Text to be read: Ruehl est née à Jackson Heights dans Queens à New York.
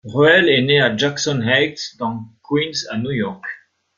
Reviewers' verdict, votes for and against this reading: accepted, 2, 0